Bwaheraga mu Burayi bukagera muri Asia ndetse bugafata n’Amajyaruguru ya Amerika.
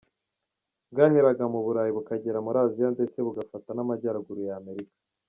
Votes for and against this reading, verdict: 2, 0, accepted